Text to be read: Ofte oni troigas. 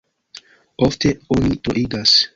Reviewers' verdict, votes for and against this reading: accepted, 2, 0